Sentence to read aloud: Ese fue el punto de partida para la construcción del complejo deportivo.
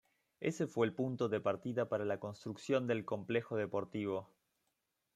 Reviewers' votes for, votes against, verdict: 4, 1, accepted